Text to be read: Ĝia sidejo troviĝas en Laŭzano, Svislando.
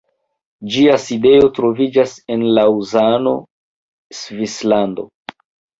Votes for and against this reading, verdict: 2, 0, accepted